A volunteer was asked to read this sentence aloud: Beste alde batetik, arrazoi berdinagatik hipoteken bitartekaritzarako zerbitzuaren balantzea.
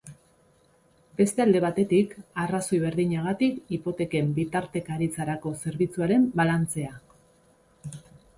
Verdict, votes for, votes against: accepted, 2, 0